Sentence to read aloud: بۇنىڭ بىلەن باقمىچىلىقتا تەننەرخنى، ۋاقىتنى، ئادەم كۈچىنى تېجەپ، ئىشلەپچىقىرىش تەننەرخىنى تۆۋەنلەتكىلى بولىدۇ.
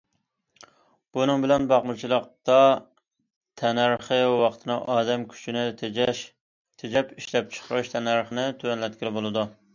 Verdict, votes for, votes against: rejected, 0, 2